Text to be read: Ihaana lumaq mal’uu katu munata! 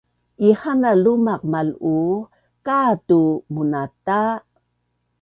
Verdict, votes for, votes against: accepted, 2, 0